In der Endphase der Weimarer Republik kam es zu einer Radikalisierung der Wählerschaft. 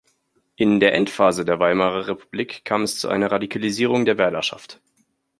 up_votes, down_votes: 2, 0